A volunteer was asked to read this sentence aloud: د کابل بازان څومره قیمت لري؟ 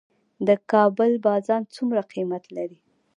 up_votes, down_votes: 1, 2